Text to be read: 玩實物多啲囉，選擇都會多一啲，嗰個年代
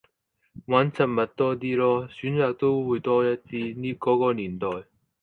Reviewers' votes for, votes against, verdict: 0, 4, rejected